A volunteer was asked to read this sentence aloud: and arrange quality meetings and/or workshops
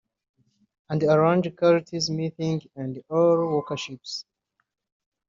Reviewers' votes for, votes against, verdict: 0, 2, rejected